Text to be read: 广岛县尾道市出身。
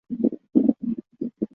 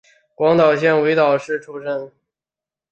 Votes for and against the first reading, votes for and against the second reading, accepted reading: 0, 2, 4, 1, second